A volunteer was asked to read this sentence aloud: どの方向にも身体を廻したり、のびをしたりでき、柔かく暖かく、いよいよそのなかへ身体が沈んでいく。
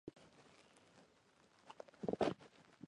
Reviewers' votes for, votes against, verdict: 0, 2, rejected